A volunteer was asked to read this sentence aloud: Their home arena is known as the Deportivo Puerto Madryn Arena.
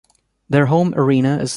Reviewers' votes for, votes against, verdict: 0, 2, rejected